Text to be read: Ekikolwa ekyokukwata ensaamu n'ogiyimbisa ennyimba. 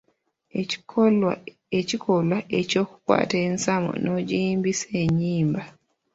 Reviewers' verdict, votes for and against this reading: rejected, 1, 2